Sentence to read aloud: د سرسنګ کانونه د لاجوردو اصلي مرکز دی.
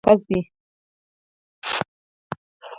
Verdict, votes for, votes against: rejected, 0, 4